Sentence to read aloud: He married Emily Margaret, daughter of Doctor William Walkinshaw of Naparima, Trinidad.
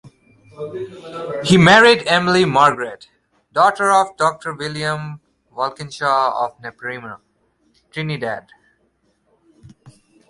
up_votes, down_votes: 2, 0